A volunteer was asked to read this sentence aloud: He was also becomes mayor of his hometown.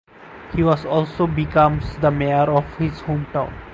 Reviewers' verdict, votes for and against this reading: rejected, 0, 4